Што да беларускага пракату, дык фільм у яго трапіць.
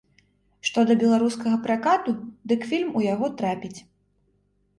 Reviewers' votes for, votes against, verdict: 2, 0, accepted